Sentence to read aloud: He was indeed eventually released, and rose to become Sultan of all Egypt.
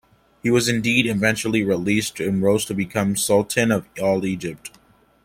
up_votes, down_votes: 2, 1